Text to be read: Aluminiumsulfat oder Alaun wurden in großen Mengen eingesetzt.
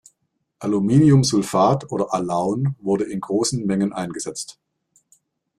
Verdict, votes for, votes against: rejected, 1, 2